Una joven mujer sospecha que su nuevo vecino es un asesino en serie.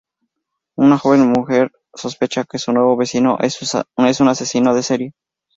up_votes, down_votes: 0, 4